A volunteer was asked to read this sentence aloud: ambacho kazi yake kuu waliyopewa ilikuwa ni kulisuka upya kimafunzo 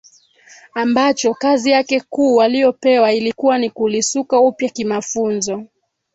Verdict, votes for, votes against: accepted, 2, 0